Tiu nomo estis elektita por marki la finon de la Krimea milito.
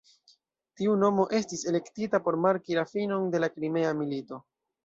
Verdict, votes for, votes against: rejected, 0, 2